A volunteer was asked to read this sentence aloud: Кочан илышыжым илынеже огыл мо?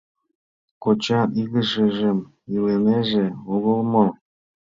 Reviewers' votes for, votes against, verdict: 0, 2, rejected